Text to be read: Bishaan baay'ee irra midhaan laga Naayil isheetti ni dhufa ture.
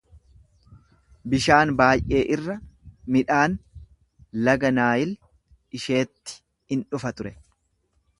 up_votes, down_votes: 1, 2